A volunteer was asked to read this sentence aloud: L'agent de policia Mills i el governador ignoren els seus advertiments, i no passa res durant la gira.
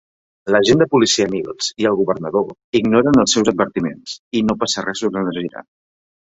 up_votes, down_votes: 2, 0